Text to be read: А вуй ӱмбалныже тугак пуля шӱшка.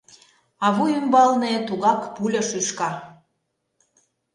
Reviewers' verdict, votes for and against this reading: rejected, 0, 2